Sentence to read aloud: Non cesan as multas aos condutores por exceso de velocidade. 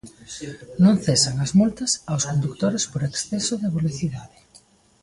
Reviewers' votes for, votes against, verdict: 1, 2, rejected